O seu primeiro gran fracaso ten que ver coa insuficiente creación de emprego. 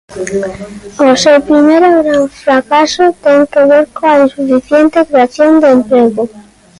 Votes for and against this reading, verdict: 0, 2, rejected